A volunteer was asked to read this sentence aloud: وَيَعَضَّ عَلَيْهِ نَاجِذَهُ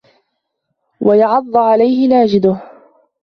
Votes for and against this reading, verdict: 3, 2, accepted